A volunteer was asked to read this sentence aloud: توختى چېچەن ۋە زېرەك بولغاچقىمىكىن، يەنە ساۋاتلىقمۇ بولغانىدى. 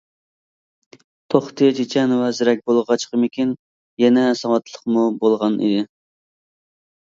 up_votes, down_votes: 1, 2